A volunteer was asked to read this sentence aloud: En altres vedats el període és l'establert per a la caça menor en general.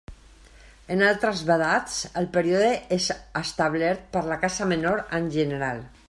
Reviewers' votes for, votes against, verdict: 0, 2, rejected